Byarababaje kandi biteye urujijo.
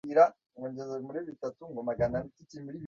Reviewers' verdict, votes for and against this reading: rejected, 0, 2